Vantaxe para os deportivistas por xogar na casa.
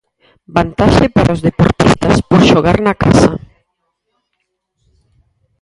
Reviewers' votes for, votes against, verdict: 0, 4, rejected